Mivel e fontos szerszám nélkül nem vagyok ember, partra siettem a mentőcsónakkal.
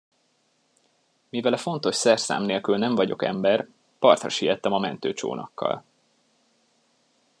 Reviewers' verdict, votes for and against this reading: accepted, 2, 0